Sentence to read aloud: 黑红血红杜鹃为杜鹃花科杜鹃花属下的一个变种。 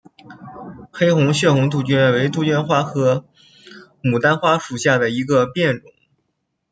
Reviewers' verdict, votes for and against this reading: rejected, 0, 2